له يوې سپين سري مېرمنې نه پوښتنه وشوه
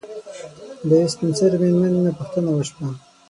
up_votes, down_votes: 3, 6